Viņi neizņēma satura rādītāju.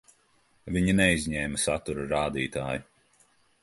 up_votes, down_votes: 2, 0